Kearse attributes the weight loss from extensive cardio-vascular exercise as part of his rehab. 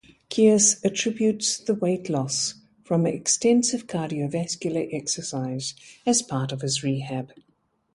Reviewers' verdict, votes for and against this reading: accepted, 2, 0